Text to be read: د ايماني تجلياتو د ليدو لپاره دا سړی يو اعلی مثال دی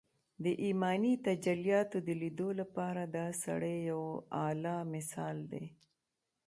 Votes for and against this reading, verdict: 0, 2, rejected